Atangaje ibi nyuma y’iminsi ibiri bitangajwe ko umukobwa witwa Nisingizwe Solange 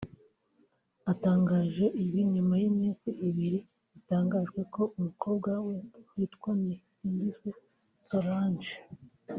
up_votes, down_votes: 1, 2